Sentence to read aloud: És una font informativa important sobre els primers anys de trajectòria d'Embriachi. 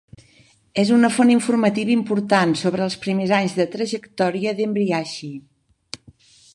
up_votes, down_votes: 4, 0